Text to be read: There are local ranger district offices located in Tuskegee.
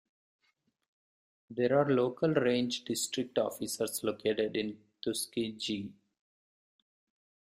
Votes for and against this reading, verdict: 1, 2, rejected